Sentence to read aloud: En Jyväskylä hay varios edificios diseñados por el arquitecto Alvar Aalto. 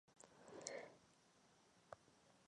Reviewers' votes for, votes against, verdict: 0, 2, rejected